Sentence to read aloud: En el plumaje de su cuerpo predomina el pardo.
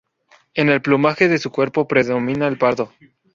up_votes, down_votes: 0, 2